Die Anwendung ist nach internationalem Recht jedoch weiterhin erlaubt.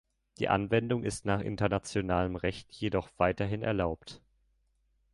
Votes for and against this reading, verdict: 2, 0, accepted